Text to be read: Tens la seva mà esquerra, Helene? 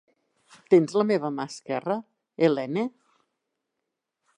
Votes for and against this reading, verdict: 2, 3, rejected